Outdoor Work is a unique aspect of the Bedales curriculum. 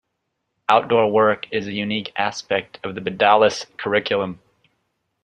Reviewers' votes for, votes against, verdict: 3, 1, accepted